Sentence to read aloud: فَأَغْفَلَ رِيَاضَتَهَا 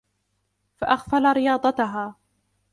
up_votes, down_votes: 2, 0